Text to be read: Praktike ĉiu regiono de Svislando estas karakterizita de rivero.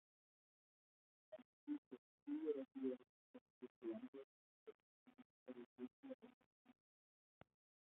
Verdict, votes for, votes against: rejected, 0, 2